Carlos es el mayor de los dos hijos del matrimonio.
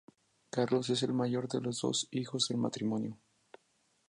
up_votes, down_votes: 2, 0